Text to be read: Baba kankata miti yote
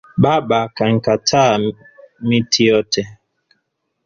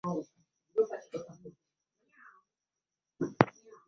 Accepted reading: first